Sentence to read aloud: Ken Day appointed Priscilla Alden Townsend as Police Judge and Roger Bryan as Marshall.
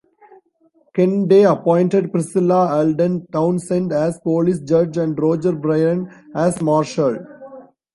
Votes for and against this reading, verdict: 2, 0, accepted